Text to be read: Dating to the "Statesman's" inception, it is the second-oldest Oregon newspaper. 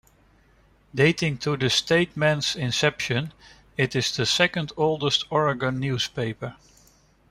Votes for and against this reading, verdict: 1, 2, rejected